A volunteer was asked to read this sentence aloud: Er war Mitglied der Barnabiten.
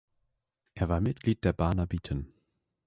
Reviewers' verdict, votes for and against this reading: accepted, 2, 0